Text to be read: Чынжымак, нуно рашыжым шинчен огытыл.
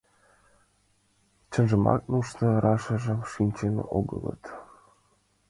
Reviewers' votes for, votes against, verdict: 2, 1, accepted